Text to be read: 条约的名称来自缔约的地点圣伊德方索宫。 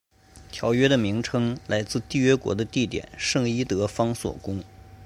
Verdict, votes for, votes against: rejected, 1, 2